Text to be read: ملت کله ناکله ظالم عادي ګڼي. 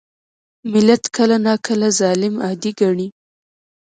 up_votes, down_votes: 1, 2